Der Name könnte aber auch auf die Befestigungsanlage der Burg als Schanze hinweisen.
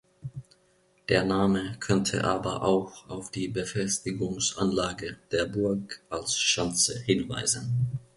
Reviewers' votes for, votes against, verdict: 2, 0, accepted